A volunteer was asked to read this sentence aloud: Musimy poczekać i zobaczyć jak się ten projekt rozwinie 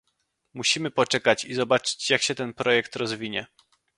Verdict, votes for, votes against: accepted, 2, 0